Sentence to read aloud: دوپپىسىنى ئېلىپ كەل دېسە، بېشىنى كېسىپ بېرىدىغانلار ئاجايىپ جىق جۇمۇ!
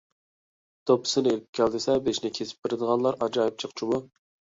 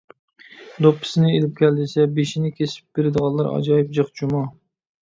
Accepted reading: second